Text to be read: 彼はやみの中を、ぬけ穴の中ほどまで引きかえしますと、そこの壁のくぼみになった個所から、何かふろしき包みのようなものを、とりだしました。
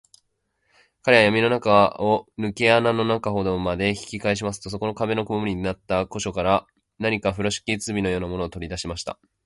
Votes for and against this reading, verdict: 2, 0, accepted